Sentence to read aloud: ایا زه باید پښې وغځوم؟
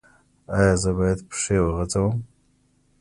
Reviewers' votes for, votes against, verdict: 2, 0, accepted